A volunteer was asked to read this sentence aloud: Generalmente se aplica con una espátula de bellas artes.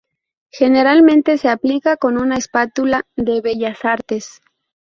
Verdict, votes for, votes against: accepted, 2, 0